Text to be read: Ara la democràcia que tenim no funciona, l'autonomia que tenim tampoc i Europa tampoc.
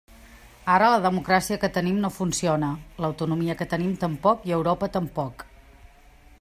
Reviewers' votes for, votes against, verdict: 3, 0, accepted